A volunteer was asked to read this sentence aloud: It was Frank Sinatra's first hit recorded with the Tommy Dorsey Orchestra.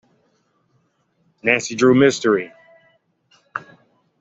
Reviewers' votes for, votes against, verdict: 0, 2, rejected